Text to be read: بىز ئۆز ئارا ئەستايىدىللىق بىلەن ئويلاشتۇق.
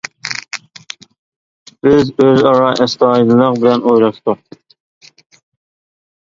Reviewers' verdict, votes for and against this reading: rejected, 1, 2